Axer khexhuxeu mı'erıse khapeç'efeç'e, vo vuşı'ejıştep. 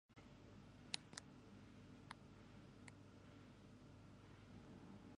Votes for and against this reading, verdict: 0, 2, rejected